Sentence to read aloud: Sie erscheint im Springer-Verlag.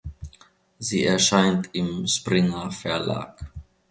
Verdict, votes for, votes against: accepted, 2, 0